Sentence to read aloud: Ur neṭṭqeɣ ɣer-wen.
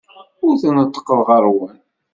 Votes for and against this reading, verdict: 1, 2, rejected